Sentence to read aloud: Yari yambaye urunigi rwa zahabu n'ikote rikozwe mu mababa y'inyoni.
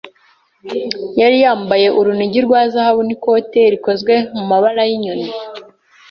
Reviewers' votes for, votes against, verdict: 1, 2, rejected